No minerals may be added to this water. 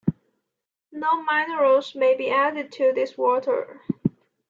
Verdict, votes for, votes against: accepted, 2, 1